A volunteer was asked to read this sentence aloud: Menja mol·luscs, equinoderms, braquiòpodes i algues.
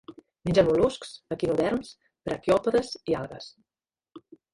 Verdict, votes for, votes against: rejected, 1, 2